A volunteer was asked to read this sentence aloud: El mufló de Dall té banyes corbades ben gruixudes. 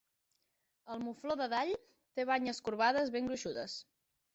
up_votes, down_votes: 2, 0